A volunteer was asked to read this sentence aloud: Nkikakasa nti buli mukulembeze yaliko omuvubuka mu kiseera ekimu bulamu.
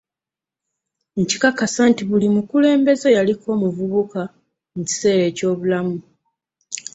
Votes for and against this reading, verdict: 1, 2, rejected